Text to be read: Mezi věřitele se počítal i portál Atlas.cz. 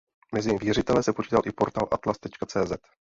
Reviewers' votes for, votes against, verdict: 2, 0, accepted